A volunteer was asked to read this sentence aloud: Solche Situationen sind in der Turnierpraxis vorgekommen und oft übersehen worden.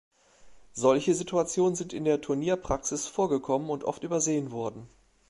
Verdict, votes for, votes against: accepted, 2, 1